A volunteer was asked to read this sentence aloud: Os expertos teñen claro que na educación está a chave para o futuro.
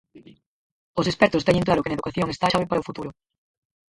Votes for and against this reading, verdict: 0, 4, rejected